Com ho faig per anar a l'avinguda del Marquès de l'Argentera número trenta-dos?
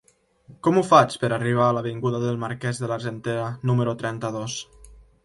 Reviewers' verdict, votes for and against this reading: rejected, 0, 2